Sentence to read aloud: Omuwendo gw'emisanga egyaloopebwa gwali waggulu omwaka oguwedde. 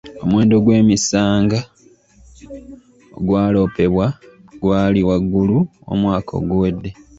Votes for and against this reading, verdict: 0, 3, rejected